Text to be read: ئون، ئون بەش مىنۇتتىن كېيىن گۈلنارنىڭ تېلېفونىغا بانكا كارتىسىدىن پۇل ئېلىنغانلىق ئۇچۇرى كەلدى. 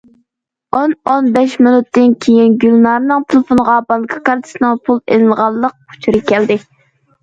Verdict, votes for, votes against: rejected, 1, 2